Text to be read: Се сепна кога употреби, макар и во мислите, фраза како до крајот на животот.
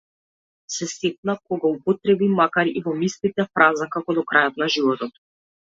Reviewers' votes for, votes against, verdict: 2, 0, accepted